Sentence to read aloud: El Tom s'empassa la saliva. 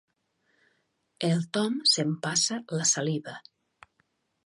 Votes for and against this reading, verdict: 2, 0, accepted